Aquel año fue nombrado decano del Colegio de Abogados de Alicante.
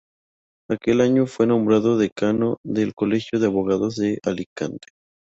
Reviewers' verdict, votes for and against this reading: accepted, 4, 0